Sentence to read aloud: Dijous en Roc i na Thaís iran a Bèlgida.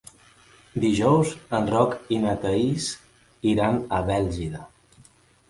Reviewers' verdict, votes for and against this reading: accepted, 3, 0